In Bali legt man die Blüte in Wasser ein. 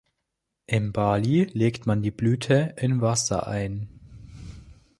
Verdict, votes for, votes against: accepted, 2, 0